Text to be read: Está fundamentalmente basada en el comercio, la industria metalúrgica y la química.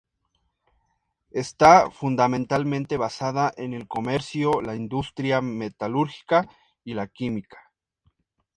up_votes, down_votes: 2, 0